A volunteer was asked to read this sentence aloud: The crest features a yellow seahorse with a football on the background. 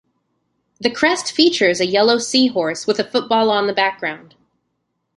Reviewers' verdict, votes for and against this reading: accepted, 2, 0